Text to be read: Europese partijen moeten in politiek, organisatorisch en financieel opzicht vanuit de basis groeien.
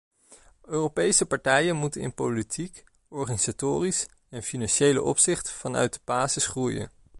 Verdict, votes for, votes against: rejected, 0, 2